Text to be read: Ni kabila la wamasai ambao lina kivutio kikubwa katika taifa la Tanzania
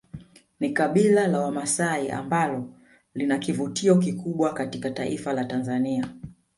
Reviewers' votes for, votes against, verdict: 7, 0, accepted